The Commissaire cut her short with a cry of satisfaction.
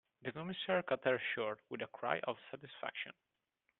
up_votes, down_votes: 2, 1